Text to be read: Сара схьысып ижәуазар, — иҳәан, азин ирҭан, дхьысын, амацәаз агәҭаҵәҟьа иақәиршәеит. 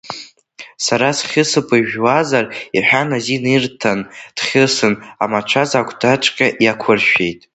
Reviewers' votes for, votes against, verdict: 0, 2, rejected